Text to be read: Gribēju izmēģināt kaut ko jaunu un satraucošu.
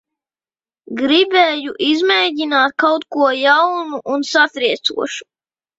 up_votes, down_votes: 0, 2